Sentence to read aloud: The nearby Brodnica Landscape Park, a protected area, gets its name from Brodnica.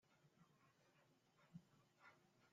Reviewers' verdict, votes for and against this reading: rejected, 0, 2